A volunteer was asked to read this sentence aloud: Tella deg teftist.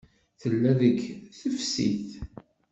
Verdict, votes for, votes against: rejected, 1, 2